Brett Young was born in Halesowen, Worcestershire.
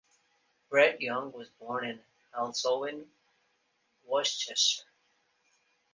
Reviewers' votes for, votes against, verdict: 1, 2, rejected